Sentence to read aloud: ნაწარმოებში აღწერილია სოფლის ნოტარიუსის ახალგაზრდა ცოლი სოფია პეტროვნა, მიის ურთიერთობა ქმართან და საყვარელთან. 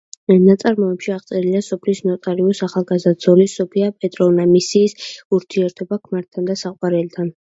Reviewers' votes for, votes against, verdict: 0, 2, rejected